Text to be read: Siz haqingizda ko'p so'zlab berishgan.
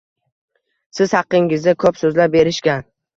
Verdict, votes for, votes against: rejected, 1, 2